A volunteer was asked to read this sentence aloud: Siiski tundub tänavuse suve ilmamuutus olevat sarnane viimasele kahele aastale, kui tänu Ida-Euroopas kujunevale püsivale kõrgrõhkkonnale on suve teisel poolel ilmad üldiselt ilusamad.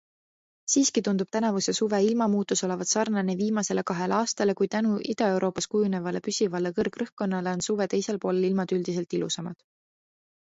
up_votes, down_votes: 2, 0